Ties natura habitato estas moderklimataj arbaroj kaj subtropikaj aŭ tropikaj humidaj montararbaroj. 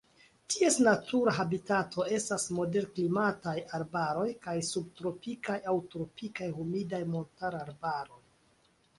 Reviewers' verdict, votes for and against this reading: accepted, 2, 0